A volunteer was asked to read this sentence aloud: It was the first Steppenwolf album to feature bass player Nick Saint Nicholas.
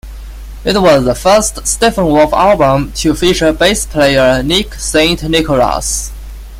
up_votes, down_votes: 1, 2